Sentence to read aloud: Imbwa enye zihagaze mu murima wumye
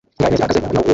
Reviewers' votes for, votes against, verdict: 0, 2, rejected